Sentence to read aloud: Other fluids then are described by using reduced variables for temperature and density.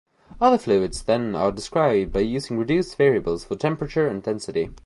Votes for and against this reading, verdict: 2, 0, accepted